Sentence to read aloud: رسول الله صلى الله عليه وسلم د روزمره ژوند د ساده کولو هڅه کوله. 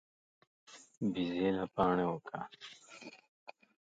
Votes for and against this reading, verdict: 1, 2, rejected